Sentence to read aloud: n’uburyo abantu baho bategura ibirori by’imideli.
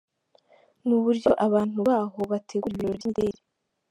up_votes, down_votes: 0, 2